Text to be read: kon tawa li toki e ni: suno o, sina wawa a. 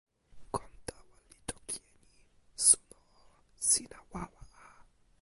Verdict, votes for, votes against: rejected, 1, 2